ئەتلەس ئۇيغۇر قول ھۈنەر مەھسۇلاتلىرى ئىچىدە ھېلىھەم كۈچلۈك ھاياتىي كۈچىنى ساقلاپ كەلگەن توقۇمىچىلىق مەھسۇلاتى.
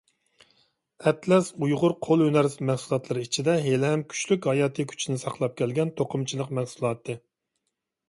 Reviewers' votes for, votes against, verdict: 2, 0, accepted